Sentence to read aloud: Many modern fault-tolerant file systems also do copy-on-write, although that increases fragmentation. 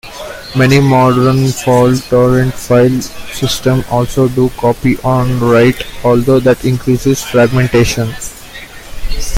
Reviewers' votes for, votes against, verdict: 2, 1, accepted